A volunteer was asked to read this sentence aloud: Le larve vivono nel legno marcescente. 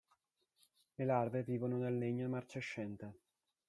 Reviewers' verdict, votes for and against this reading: rejected, 1, 2